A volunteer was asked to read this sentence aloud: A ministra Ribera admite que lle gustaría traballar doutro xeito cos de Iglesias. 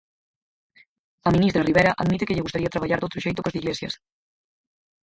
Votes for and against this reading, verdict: 0, 4, rejected